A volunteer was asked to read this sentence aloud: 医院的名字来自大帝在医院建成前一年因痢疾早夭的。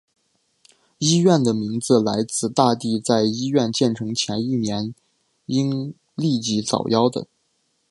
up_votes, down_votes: 2, 0